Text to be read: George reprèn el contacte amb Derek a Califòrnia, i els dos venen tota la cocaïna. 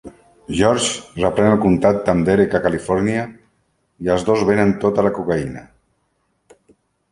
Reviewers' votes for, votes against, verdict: 2, 0, accepted